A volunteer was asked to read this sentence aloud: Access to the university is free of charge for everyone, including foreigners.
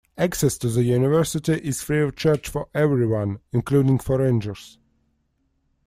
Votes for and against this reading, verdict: 0, 2, rejected